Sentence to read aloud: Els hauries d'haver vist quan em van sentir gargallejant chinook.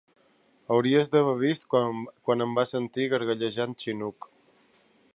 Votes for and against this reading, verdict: 0, 2, rejected